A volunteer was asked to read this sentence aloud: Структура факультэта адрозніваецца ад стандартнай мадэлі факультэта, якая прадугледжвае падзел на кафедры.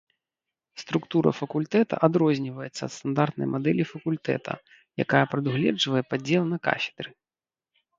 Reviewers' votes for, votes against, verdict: 2, 0, accepted